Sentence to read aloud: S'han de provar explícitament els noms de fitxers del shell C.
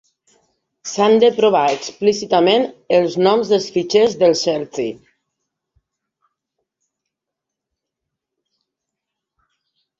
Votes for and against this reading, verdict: 2, 1, accepted